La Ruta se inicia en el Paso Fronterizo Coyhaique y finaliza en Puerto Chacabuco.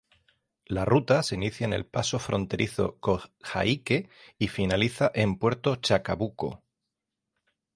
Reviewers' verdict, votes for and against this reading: rejected, 3, 3